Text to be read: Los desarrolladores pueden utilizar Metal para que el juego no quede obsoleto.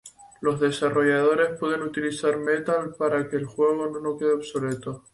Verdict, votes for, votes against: accepted, 2, 0